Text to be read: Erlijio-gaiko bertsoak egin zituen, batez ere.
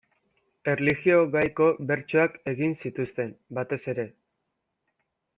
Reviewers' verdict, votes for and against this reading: rejected, 0, 3